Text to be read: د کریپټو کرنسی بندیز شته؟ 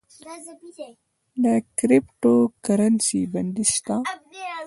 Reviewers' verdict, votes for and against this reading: accepted, 2, 0